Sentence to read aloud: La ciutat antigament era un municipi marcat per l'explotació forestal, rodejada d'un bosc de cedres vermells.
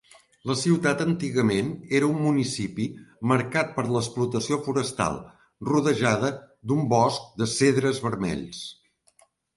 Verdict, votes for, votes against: accepted, 2, 0